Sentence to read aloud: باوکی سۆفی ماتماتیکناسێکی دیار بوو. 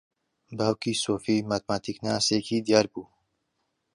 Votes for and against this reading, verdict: 2, 0, accepted